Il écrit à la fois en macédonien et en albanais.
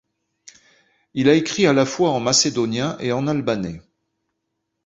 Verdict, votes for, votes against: rejected, 1, 2